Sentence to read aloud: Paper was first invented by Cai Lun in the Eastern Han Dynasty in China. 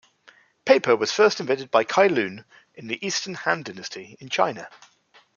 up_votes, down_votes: 2, 0